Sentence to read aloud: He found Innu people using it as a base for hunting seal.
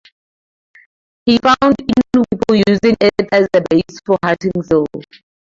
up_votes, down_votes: 2, 0